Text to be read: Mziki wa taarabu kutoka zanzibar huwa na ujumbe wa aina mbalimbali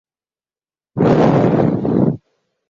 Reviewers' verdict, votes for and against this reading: rejected, 1, 2